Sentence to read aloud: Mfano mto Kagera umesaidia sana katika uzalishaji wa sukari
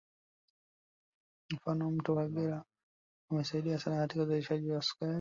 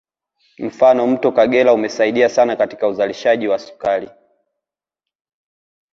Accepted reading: second